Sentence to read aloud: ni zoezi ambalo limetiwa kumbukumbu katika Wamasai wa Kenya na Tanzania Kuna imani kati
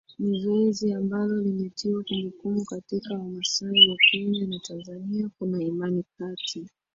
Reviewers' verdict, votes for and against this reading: rejected, 0, 2